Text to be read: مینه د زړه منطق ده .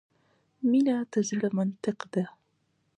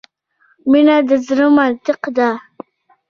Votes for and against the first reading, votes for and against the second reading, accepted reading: 0, 2, 2, 0, second